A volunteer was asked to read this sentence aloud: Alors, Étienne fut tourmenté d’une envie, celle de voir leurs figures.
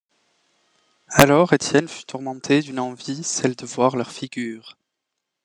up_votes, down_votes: 2, 0